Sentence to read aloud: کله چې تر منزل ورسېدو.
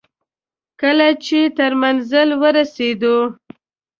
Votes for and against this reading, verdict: 2, 0, accepted